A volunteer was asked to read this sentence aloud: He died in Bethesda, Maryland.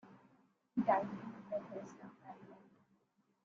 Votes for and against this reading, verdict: 0, 2, rejected